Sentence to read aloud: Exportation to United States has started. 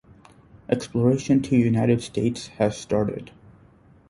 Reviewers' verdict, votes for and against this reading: rejected, 0, 2